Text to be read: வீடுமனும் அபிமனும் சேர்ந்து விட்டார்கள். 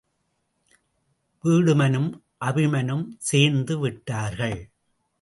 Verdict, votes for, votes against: accepted, 2, 0